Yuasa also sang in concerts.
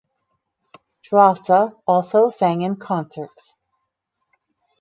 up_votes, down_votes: 2, 2